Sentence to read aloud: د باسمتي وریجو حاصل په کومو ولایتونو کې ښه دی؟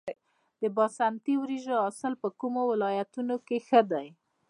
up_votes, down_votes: 1, 2